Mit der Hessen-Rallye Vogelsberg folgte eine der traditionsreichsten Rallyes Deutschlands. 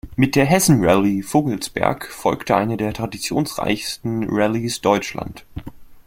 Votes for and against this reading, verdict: 1, 2, rejected